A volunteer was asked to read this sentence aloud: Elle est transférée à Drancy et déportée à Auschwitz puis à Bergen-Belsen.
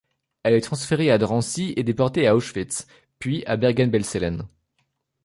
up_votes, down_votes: 0, 2